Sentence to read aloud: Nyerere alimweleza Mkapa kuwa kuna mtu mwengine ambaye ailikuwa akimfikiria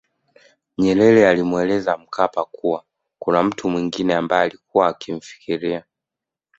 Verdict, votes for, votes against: accepted, 2, 0